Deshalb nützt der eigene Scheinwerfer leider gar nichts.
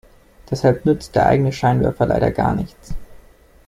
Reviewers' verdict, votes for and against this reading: accepted, 2, 0